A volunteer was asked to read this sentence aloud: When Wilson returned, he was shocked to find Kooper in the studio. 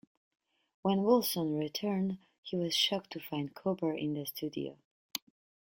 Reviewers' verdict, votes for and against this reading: accepted, 2, 0